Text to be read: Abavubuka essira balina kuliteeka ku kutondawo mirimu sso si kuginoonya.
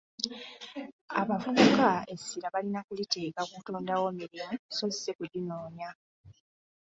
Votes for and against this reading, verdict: 1, 2, rejected